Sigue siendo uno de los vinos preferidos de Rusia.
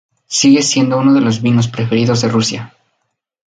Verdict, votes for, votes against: accepted, 2, 0